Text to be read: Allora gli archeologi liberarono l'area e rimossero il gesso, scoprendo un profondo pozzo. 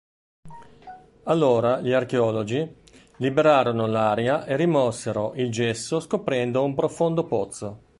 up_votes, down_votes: 2, 0